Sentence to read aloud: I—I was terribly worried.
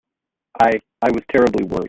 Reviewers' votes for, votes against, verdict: 1, 2, rejected